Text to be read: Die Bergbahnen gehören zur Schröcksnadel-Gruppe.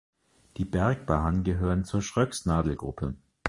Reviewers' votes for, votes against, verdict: 2, 0, accepted